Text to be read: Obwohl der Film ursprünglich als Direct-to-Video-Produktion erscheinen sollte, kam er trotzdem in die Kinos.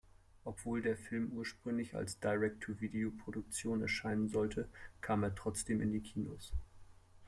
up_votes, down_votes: 2, 1